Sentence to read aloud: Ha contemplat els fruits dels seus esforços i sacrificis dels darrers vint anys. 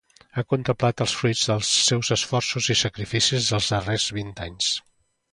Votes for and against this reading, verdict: 2, 0, accepted